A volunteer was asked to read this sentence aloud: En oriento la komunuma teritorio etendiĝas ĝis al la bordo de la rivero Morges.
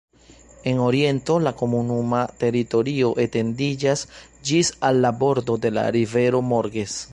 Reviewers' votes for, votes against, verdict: 2, 0, accepted